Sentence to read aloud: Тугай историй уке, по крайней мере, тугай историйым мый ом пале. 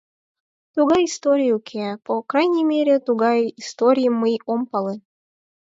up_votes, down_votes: 4, 2